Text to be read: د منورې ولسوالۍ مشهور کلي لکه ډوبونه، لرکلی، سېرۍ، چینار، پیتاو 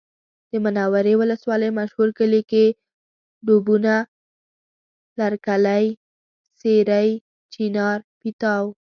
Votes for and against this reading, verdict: 1, 2, rejected